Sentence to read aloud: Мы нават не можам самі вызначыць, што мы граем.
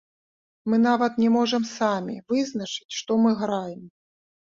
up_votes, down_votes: 1, 2